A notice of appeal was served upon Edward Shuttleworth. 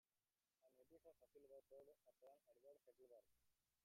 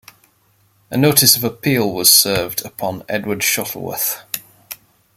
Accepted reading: second